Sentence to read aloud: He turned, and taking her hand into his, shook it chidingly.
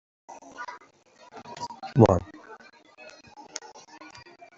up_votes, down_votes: 0, 2